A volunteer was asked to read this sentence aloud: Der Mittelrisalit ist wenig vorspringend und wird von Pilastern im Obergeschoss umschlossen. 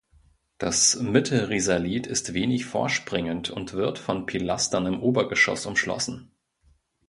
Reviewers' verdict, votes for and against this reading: rejected, 0, 2